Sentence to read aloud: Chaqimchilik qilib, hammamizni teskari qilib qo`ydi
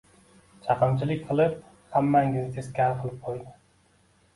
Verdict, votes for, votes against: accepted, 2, 1